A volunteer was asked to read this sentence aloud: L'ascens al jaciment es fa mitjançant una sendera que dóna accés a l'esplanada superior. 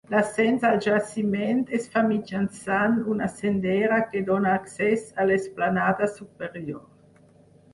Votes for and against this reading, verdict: 4, 0, accepted